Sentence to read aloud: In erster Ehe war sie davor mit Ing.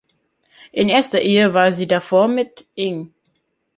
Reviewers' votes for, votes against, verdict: 2, 0, accepted